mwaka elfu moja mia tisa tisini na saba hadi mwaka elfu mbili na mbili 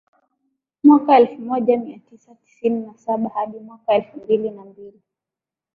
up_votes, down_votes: 2, 1